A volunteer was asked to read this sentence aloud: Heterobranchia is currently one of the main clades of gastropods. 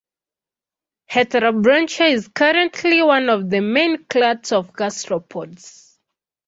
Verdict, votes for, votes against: accepted, 2, 0